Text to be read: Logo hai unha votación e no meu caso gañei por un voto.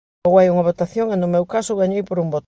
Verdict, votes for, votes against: rejected, 0, 2